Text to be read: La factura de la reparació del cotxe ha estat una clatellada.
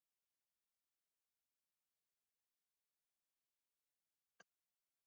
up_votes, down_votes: 1, 2